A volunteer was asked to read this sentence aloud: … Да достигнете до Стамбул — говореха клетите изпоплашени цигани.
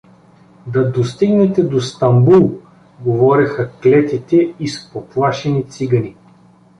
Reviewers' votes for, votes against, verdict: 2, 1, accepted